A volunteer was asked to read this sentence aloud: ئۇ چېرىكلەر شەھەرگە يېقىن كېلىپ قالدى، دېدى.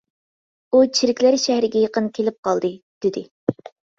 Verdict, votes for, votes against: accepted, 2, 0